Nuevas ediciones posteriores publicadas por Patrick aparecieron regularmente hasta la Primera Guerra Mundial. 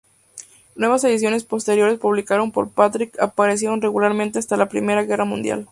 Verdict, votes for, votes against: rejected, 2, 4